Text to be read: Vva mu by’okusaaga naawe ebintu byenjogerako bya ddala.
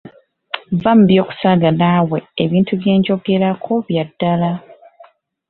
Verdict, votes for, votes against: accepted, 2, 0